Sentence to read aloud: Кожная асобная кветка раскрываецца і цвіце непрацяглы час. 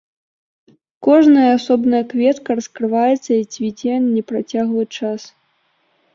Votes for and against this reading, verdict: 2, 0, accepted